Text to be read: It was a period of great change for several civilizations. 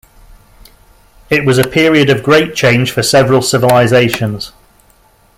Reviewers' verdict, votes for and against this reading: accepted, 2, 0